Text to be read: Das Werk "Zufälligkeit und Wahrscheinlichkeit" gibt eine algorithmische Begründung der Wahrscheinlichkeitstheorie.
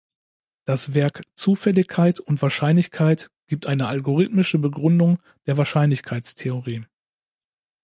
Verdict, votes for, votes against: accepted, 2, 0